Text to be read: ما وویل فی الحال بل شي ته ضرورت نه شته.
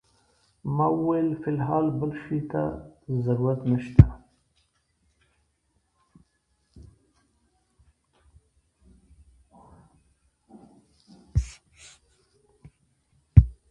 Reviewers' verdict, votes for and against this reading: rejected, 1, 2